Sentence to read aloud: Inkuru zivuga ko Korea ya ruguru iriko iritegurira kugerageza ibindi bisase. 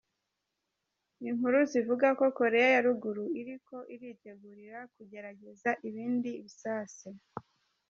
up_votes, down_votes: 1, 2